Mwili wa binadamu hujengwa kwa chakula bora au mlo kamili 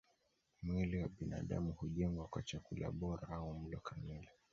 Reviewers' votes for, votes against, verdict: 2, 1, accepted